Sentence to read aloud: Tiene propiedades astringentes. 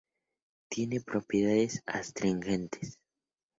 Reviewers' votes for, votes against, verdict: 2, 0, accepted